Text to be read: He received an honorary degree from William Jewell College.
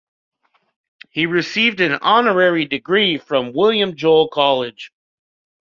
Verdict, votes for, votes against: accepted, 2, 0